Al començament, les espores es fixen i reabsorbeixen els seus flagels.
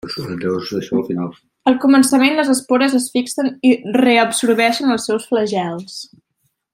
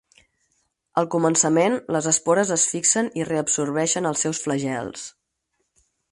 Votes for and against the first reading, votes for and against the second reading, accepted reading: 1, 2, 4, 0, second